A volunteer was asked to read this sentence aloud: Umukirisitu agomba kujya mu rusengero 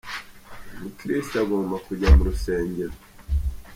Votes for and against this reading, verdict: 3, 0, accepted